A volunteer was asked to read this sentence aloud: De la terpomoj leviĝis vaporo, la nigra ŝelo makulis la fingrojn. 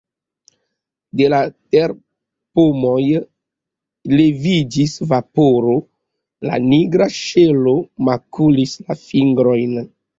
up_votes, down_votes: 2, 1